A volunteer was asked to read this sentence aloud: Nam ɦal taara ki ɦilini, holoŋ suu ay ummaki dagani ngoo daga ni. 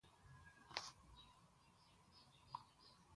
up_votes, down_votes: 0, 2